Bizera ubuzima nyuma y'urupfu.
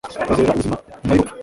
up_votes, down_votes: 1, 2